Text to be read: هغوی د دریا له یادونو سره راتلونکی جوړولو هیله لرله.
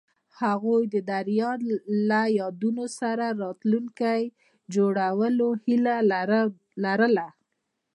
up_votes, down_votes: 1, 2